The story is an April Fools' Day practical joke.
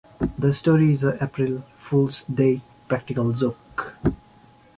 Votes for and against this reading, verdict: 1, 2, rejected